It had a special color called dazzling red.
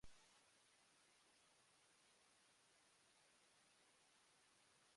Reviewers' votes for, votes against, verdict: 0, 2, rejected